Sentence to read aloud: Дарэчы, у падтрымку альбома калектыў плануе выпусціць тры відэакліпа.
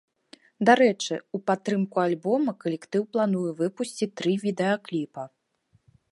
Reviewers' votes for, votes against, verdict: 2, 0, accepted